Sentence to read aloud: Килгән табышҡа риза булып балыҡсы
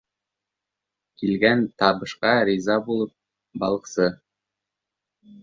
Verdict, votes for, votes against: accepted, 3, 2